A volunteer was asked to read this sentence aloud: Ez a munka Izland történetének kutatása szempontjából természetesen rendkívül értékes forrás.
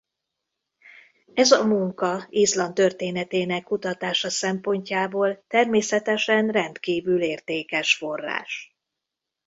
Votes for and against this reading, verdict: 2, 0, accepted